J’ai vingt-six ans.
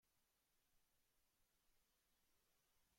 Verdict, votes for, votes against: rejected, 0, 2